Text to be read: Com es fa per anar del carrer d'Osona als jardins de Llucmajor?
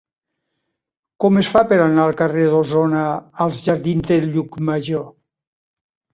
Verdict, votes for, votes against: rejected, 1, 2